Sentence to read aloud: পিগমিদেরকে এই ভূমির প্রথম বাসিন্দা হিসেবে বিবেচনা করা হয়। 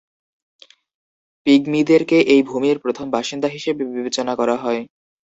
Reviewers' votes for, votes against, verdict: 2, 0, accepted